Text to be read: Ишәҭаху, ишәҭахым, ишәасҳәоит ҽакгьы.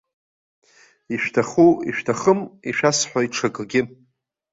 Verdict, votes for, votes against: accepted, 2, 0